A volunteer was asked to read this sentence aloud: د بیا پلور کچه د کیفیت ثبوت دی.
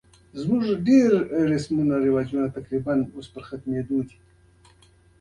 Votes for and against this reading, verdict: 2, 1, accepted